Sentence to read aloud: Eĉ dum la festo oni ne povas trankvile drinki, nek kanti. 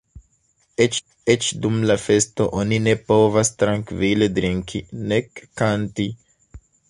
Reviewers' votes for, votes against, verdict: 1, 3, rejected